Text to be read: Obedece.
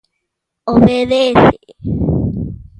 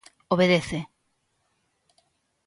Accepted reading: second